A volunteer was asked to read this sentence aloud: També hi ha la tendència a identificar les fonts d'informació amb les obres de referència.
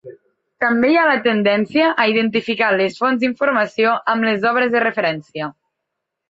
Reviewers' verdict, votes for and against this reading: accepted, 2, 0